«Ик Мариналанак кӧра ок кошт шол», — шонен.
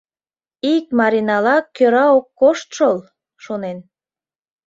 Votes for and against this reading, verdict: 0, 2, rejected